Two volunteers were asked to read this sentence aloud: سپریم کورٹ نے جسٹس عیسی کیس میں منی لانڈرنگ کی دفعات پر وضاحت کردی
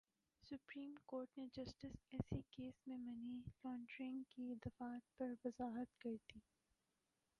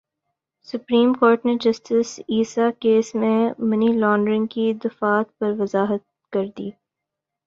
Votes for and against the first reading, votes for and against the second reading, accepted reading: 1, 2, 2, 0, second